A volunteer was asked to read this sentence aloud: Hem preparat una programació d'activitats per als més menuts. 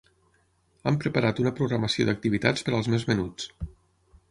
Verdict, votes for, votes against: accepted, 6, 3